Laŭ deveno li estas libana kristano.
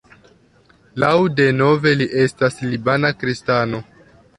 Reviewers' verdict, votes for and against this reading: rejected, 1, 2